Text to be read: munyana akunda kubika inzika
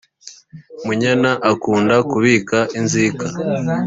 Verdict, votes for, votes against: accepted, 3, 0